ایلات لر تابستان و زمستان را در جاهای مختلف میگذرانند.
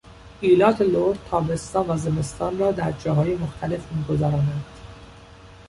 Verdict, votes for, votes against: accepted, 2, 0